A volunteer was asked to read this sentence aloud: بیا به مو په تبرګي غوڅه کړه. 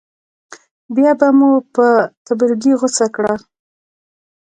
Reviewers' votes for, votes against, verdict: 0, 2, rejected